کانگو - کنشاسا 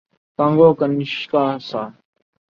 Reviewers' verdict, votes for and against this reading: rejected, 0, 2